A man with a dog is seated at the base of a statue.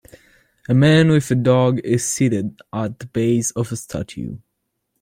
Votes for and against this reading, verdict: 2, 0, accepted